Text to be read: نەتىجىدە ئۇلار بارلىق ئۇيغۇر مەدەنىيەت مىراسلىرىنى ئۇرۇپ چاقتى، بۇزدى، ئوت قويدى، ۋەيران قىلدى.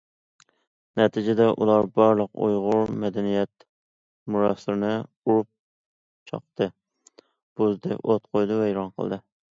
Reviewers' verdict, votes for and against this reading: accepted, 2, 0